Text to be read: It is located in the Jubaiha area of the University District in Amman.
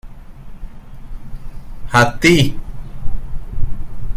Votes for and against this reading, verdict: 0, 2, rejected